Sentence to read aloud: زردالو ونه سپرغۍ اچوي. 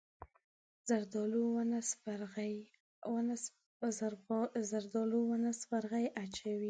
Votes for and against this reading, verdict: 1, 2, rejected